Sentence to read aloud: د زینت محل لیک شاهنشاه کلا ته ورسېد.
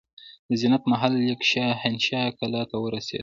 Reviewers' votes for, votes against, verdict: 0, 3, rejected